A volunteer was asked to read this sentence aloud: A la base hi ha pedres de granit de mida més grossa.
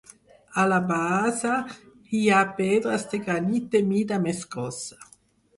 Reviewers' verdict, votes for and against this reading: accepted, 4, 0